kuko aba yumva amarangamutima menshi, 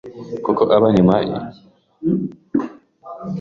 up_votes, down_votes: 1, 2